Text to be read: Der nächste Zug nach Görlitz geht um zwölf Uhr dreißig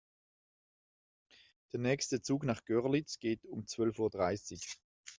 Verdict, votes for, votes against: accepted, 2, 0